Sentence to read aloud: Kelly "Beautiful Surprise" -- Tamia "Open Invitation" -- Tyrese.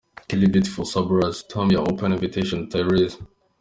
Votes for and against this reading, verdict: 2, 0, accepted